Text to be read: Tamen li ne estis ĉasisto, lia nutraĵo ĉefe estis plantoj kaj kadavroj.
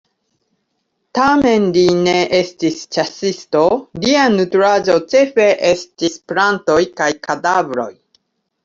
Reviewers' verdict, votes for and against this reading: accepted, 2, 0